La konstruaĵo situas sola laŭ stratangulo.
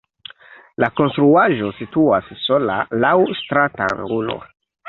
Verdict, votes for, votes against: accepted, 2, 0